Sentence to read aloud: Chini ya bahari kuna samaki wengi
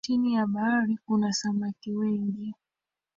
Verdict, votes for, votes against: rejected, 1, 2